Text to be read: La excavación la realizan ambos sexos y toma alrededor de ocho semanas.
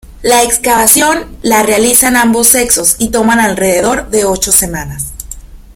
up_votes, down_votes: 0, 2